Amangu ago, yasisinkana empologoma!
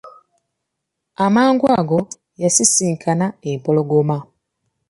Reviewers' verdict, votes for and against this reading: accepted, 2, 0